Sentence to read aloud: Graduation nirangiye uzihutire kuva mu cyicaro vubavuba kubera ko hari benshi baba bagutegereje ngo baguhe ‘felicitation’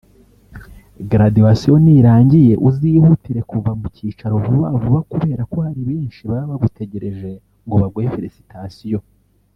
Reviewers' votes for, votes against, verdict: 1, 2, rejected